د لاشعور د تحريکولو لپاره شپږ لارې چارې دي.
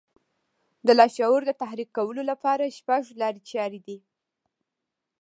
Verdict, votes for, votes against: accepted, 2, 0